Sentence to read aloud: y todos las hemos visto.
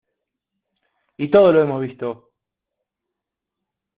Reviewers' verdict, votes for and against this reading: rejected, 0, 2